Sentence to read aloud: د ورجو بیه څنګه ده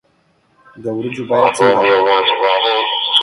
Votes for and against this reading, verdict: 1, 2, rejected